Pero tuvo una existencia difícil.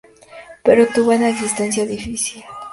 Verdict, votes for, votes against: accepted, 2, 0